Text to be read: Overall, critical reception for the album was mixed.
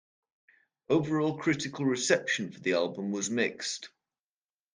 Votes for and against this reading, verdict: 2, 0, accepted